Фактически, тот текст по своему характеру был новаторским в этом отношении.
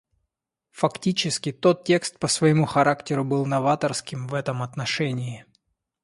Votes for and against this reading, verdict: 2, 0, accepted